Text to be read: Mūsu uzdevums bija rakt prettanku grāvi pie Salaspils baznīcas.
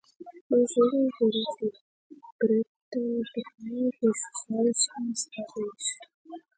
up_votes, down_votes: 0, 2